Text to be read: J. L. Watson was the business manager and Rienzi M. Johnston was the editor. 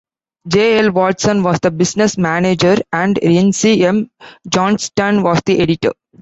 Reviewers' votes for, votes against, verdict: 2, 0, accepted